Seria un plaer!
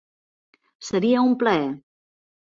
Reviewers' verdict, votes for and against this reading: accepted, 2, 0